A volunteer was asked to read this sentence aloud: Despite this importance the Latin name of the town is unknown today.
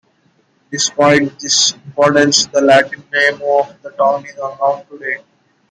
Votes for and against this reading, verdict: 2, 1, accepted